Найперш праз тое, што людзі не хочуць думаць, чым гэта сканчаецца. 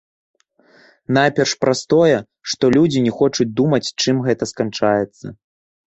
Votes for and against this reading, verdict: 0, 2, rejected